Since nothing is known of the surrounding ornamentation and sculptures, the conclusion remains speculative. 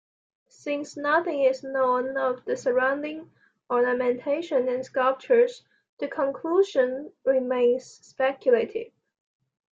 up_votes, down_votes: 2, 1